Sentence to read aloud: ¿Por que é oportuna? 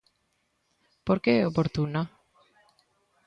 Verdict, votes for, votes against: rejected, 1, 2